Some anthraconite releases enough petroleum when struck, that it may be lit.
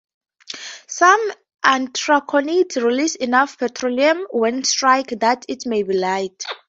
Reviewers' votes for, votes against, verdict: 0, 2, rejected